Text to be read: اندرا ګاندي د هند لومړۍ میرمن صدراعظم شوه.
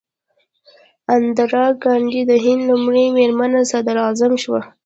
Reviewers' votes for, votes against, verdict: 0, 2, rejected